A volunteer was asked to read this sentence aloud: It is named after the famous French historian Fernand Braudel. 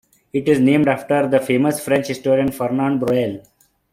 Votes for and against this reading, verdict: 1, 2, rejected